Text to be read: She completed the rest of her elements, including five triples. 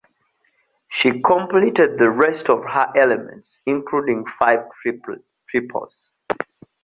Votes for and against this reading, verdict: 0, 2, rejected